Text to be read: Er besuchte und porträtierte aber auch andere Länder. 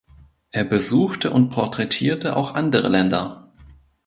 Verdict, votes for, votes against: rejected, 0, 2